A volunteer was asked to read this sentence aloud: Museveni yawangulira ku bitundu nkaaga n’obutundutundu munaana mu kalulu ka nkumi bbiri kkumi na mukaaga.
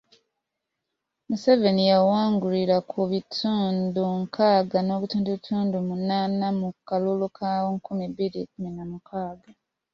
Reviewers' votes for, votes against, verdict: 2, 0, accepted